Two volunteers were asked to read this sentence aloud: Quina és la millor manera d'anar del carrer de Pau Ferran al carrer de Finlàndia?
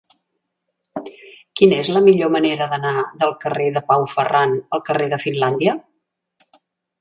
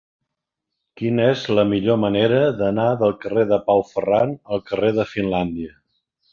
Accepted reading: first